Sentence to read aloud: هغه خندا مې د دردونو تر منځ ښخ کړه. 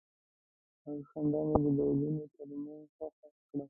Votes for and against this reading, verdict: 0, 2, rejected